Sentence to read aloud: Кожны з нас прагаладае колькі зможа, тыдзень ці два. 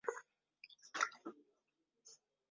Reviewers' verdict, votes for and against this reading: rejected, 0, 2